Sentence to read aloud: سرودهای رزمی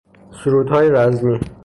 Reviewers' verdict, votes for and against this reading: accepted, 3, 0